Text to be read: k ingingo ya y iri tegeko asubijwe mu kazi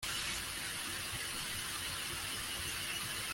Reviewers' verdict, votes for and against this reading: rejected, 0, 2